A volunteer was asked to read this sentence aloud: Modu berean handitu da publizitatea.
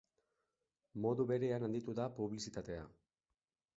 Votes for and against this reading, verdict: 2, 0, accepted